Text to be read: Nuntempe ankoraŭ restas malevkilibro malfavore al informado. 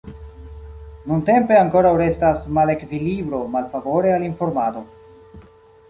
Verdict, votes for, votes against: accepted, 2, 0